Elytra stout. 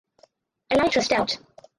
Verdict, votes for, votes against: rejected, 0, 4